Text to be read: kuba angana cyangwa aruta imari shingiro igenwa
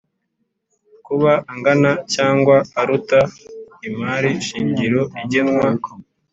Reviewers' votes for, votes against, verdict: 4, 0, accepted